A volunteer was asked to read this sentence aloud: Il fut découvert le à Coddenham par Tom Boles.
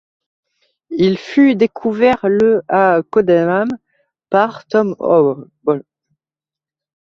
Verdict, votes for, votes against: rejected, 0, 2